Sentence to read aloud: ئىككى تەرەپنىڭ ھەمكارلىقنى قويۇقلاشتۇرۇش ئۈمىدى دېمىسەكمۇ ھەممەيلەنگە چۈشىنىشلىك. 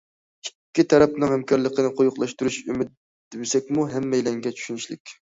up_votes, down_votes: 0, 2